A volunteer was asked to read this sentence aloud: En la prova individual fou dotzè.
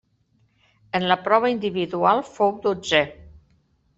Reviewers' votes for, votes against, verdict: 3, 0, accepted